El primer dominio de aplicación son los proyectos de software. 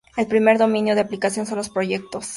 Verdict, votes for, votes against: rejected, 0, 2